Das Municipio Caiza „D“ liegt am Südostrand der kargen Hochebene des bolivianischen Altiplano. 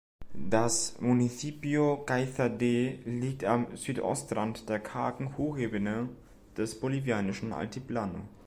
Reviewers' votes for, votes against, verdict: 2, 0, accepted